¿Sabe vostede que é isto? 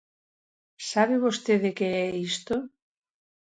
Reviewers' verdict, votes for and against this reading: accepted, 2, 0